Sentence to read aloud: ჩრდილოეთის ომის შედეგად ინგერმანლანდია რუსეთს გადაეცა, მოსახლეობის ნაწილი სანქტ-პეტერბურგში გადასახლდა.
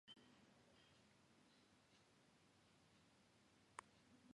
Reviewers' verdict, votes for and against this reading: rejected, 0, 2